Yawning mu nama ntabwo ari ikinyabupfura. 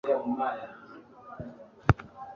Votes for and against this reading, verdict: 1, 2, rejected